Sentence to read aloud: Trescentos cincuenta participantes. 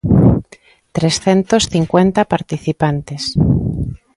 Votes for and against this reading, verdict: 2, 0, accepted